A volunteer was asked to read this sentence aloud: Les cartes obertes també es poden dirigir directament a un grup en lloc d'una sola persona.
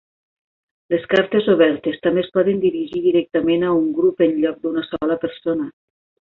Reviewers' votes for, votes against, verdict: 3, 0, accepted